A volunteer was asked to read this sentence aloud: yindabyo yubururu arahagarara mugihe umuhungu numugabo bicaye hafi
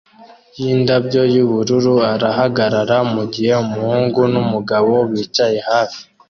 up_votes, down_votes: 2, 0